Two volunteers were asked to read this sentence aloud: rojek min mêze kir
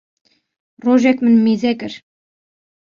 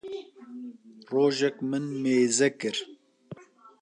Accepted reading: first